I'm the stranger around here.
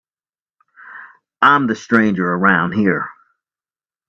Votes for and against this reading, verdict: 3, 0, accepted